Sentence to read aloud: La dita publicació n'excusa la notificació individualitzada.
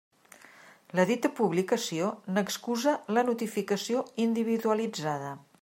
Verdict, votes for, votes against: accepted, 2, 0